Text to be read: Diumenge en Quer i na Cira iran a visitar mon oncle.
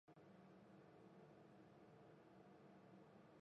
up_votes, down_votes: 0, 2